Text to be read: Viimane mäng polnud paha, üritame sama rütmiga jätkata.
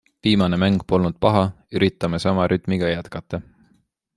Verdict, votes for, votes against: accepted, 2, 0